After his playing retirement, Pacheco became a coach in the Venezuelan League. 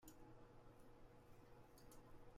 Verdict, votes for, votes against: rejected, 0, 2